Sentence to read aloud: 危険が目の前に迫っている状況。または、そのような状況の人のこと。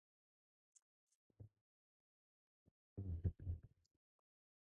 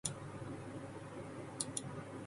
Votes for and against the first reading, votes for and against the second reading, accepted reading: 2, 0, 0, 3, first